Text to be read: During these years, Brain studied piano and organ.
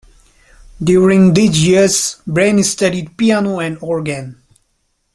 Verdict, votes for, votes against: accepted, 2, 0